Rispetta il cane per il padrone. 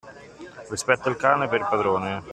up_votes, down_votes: 2, 1